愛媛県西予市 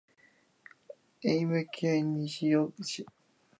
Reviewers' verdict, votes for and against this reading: rejected, 1, 2